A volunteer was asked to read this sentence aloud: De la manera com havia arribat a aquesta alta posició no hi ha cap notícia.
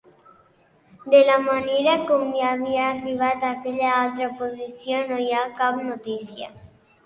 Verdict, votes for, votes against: rejected, 0, 2